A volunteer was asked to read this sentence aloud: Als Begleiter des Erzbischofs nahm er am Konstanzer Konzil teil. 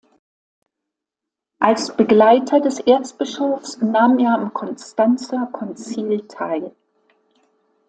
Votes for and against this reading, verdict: 2, 0, accepted